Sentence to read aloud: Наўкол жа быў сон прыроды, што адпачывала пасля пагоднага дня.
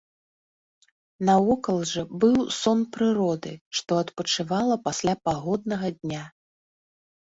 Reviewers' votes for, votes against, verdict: 1, 2, rejected